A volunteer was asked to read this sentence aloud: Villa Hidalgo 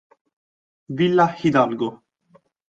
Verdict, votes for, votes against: accepted, 2, 0